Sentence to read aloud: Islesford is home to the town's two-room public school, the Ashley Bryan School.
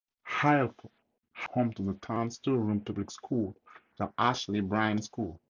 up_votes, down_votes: 2, 2